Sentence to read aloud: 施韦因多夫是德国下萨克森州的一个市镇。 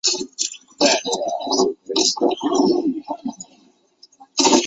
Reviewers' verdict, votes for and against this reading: rejected, 0, 3